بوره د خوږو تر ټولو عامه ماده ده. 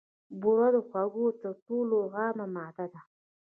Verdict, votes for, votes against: rejected, 1, 2